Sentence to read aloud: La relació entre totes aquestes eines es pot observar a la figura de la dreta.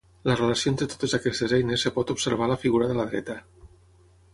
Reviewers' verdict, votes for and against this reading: accepted, 9, 6